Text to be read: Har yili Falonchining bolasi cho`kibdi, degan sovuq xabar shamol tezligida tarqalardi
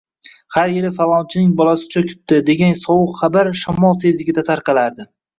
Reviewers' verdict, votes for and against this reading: rejected, 1, 2